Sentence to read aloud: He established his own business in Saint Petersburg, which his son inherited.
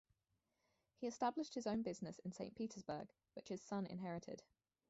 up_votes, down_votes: 0, 2